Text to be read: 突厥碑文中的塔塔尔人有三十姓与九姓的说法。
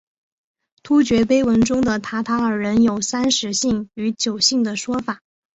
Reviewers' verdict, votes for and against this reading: accepted, 2, 1